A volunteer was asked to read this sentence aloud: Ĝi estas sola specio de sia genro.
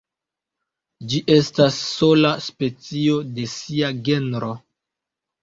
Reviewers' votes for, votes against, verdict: 0, 2, rejected